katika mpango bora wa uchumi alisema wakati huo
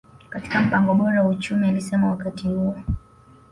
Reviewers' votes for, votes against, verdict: 2, 0, accepted